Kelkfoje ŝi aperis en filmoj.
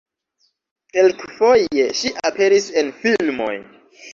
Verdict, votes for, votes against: accepted, 2, 0